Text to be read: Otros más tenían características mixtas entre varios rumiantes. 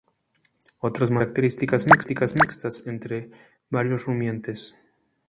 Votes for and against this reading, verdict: 0, 2, rejected